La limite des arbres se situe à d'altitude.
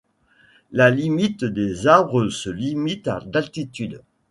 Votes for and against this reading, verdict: 1, 2, rejected